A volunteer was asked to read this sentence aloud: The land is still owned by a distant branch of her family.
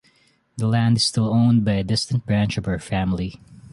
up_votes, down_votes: 2, 0